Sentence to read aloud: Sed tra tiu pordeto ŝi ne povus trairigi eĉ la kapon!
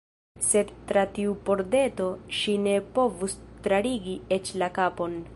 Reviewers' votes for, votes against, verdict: 1, 2, rejected